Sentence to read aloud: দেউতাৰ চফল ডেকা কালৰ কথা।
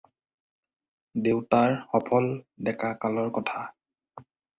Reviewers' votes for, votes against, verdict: 2, 4, rejected